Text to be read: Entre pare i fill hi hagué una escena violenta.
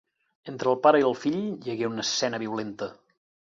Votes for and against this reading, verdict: 2, 4, rejected